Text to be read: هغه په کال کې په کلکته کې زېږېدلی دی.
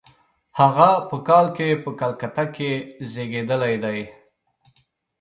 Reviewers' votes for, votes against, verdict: 2, 0, accepted